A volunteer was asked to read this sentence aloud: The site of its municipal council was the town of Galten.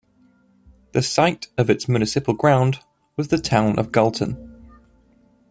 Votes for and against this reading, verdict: 1, 2, rejected